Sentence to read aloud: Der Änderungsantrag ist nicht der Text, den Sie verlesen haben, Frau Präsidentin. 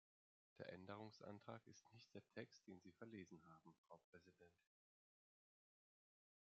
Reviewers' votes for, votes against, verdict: 0, 3, rejected